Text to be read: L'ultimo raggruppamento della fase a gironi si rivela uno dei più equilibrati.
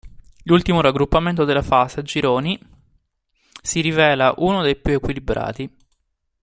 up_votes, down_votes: 1, 2